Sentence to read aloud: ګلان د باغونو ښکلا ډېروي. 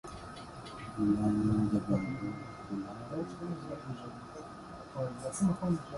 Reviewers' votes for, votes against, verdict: 0, 2, rejected